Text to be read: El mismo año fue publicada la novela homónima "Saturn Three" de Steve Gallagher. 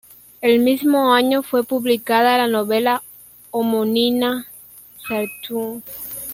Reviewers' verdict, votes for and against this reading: rejected, 0, 2